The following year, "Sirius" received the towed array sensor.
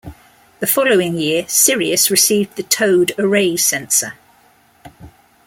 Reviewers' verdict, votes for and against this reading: accepted, 2, 0